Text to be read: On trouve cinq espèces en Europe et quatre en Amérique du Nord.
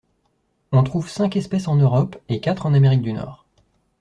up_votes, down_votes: 2, 0